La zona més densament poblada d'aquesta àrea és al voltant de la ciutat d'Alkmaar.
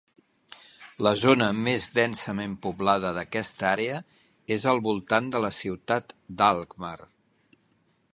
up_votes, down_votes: 2, 0